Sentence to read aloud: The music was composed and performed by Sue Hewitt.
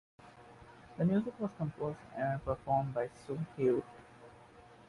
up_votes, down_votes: 1, 3